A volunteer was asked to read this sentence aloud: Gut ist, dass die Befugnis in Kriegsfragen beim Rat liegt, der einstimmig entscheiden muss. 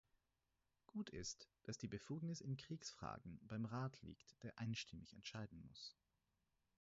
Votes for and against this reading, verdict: 4, 0, accepted